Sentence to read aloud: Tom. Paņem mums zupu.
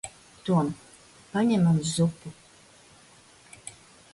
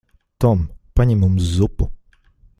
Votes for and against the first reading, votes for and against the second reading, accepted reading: 0, 2, 2, 0, second